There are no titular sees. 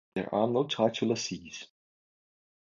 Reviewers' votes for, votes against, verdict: 2, 0, accepted